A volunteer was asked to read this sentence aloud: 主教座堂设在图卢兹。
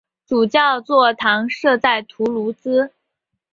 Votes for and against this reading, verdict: 4, 0, accepted